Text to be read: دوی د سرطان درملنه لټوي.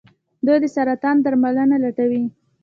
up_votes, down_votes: 2, 1